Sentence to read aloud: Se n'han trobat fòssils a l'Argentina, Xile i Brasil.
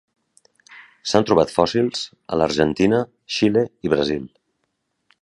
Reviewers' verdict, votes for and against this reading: rejected, 1, 2